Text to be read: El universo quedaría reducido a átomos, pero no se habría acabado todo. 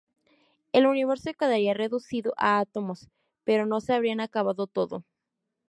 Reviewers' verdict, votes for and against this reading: rejected, 0, 2